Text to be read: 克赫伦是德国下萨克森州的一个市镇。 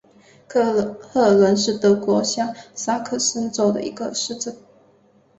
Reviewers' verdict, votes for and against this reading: accepted, 2, 1